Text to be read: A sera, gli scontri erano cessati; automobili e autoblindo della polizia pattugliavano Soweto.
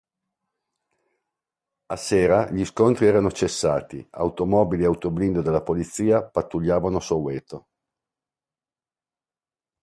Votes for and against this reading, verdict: 2, 0, accepted